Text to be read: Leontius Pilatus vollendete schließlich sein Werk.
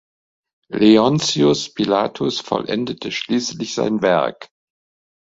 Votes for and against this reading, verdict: 3, 0, accepted